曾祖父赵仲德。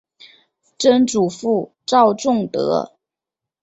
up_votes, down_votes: 2, 0